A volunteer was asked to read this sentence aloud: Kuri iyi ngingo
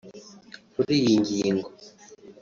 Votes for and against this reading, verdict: 2, 0, accepted